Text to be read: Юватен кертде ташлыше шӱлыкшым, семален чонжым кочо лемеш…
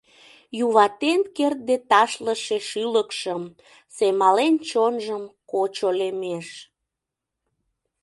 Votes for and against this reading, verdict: 2, 0, accepted